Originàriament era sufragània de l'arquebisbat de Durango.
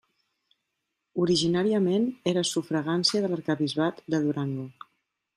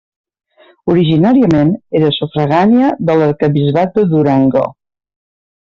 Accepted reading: second